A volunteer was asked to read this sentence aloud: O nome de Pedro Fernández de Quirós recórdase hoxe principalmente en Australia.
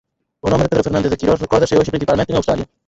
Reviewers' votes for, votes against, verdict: 0, 4, rejected